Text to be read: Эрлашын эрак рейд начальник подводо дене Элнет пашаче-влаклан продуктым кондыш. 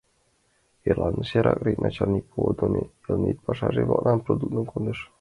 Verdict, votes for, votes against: rejected, 1, 2